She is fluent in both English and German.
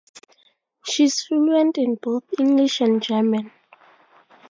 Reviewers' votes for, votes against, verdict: 4, 0, accepted